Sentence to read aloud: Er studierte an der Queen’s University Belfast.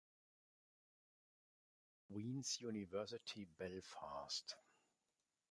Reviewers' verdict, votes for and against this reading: rejected, 0, 2